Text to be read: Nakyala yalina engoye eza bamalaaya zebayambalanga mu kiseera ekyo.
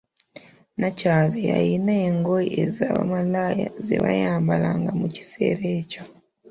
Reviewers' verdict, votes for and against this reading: accepted, 2, 0